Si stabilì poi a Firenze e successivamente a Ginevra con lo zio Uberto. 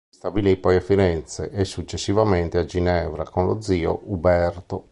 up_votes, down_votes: 2, 3